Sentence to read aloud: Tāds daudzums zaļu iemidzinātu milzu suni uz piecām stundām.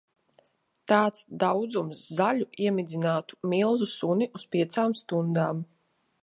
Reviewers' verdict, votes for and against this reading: accepted, 2, 1